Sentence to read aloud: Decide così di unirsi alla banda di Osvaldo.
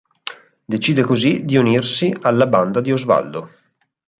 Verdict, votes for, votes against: accepted, 4, 0